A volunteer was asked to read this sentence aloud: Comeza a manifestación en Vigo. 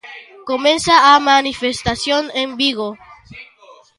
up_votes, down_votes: 2, 0